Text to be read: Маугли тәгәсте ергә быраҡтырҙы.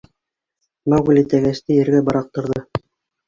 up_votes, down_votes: 1, 2